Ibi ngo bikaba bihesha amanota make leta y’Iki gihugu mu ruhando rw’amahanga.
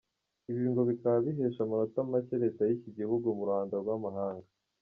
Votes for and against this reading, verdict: 2, 0, accepted